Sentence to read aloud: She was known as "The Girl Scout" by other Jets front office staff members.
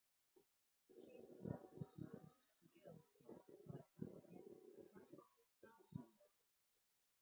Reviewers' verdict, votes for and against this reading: rejected, 0, 6